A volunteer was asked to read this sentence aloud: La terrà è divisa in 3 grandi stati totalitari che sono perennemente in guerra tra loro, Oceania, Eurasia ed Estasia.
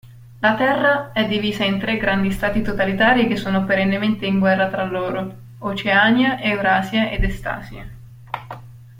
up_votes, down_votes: 0, 2